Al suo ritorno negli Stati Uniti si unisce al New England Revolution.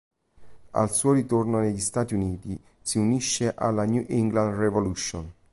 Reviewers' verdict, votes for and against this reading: rejected, 0, 2